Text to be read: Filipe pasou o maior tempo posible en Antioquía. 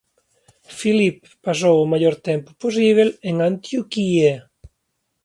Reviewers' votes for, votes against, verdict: 0, 3, rejected